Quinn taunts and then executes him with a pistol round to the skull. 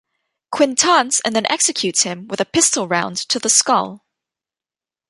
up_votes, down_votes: 2, 0